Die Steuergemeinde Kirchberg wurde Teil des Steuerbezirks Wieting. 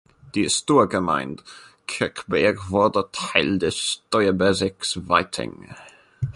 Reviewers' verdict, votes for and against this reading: rejected, 0, 2